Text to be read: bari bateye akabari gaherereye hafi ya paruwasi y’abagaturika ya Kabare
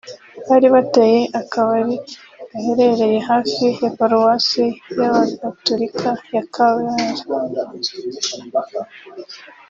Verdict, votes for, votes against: rejected, 1, 2